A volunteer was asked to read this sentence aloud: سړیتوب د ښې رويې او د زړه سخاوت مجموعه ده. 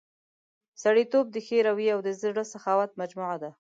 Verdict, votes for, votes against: accepted, 6, 0